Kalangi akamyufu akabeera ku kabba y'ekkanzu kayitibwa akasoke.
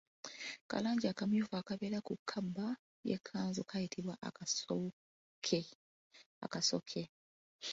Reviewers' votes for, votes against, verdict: 2, 1, accepted